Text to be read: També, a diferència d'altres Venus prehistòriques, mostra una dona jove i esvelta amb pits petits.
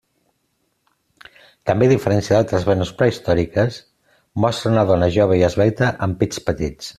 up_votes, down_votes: 2, 0